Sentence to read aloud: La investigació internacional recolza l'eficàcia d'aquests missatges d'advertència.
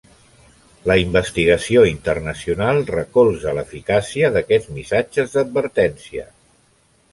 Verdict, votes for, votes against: accepted, 2, 0